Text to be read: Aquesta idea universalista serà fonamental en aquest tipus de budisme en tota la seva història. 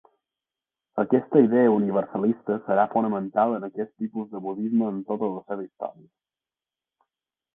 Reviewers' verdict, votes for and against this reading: rejected, 2, 3